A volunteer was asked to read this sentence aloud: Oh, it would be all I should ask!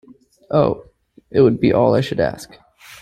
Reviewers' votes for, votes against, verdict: 2, 0, accepted